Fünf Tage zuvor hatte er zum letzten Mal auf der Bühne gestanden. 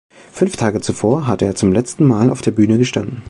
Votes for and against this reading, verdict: 2, 0, accepted